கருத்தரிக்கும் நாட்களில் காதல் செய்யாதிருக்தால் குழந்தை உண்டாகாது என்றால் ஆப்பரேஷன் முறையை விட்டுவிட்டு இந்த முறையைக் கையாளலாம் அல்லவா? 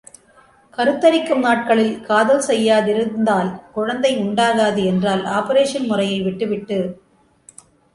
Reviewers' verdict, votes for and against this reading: rejected, 0, 2